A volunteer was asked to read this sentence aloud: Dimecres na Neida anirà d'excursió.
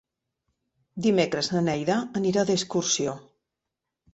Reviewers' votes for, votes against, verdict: 3, 0, accepted